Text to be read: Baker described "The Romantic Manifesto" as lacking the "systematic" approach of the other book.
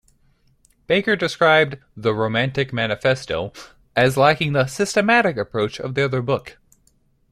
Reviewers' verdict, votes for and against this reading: accepted, 2, 0